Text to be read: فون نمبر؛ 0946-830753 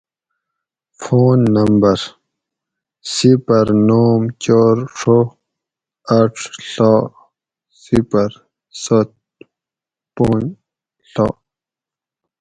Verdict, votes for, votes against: rejected, 0, 2